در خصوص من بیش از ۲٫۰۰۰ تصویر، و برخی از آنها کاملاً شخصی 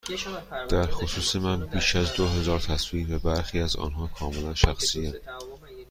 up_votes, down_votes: 0, 2